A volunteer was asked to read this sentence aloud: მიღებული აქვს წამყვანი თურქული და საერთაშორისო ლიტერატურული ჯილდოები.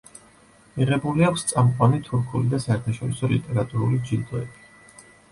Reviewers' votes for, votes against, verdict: 2, 0, accepted